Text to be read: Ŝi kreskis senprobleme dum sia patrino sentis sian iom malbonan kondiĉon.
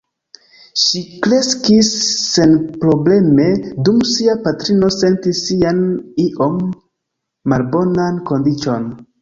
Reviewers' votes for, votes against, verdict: 2, 1, accepted